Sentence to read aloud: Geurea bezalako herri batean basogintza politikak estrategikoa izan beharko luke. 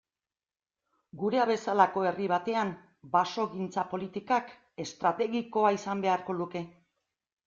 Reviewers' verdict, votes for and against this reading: accepted, 2, 0